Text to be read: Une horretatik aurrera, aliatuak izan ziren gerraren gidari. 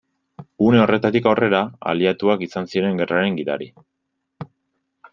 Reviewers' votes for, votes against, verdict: 2, 0, accepted